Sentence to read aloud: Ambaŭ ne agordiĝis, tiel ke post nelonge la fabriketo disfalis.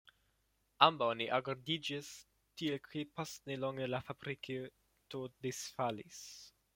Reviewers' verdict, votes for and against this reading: rejected, 1, 2